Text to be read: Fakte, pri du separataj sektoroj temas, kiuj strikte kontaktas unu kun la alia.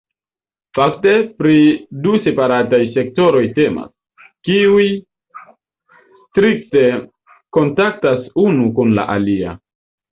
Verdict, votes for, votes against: rejected, 1, 2